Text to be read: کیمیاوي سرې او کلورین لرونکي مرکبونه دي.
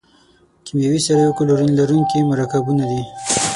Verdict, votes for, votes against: rejected, 0, 6